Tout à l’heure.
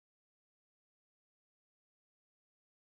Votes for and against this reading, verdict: 0, 2, rejected